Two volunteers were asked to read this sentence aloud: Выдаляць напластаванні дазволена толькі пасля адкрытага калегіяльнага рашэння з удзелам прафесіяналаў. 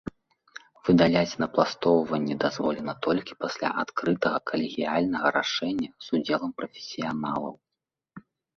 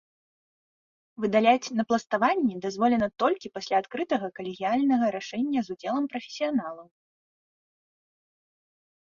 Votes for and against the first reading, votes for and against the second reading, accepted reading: 1, 2, 2, 0, second